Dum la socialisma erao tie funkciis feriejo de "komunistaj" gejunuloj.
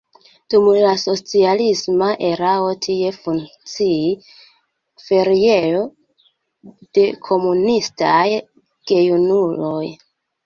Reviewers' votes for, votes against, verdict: 0, 2, rejected